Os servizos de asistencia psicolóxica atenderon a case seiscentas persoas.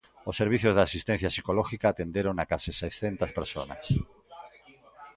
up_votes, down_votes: 0, 2